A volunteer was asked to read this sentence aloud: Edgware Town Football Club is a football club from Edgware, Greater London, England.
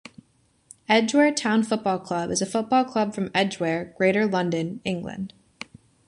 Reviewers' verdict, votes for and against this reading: accepted, 2, 0